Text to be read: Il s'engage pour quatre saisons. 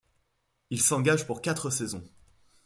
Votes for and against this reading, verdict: 2, 0, accepted